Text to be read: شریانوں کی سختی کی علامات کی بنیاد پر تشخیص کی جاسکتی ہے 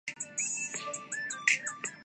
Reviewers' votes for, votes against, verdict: 0, 2, rejected